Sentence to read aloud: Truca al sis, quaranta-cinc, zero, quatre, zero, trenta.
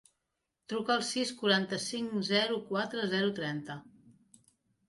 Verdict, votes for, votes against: accepted, 3, 0